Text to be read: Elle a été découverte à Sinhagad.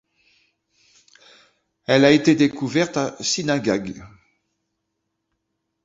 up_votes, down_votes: 1, 2